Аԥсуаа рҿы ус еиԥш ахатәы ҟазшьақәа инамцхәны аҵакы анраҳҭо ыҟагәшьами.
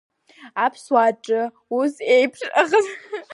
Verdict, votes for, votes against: rejected, 2, 3